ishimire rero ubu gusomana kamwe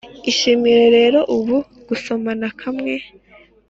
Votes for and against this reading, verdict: 2, 1, accepted